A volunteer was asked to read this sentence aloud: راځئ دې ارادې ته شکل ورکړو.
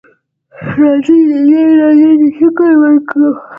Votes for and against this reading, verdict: 1, 2, rejected